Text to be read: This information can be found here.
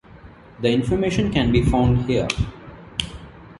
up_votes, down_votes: 1, 2